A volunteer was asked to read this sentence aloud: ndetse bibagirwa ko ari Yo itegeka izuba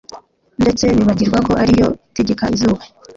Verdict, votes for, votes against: rejected, 1, 2